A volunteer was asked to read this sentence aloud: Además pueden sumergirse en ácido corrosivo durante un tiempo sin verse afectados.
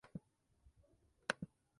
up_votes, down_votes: 0, 2